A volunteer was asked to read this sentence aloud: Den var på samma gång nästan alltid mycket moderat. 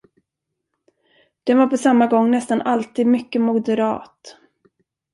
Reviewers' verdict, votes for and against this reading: accepted, 2, 0